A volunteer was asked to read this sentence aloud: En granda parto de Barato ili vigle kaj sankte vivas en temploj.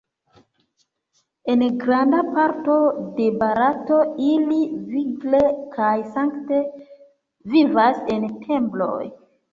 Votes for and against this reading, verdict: 1, 2, rejected